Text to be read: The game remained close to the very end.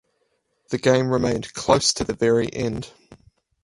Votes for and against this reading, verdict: 4, 0, accepted